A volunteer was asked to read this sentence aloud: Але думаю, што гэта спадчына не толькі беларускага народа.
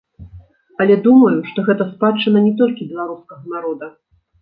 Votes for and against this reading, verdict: 2, 0, accepted